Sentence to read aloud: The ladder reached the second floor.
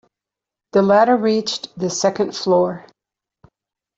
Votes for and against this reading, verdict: 2, 0, accepted